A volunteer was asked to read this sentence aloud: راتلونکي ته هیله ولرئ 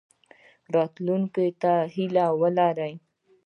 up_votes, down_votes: 2, 0